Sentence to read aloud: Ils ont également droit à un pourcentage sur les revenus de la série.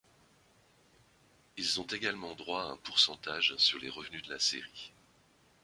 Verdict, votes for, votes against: accepted, 2, 1